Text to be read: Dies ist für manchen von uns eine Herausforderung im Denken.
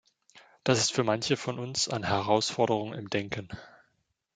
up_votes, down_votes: 1, 2